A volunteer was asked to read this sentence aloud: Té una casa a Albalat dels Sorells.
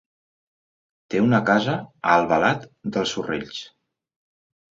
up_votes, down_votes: 2, 0